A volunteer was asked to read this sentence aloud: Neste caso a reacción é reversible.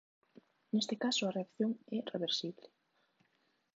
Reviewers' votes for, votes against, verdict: 1, 2, rejected